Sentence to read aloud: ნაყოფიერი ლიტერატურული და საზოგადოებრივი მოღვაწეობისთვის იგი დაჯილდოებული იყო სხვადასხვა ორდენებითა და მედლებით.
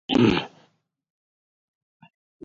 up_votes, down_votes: 0, 2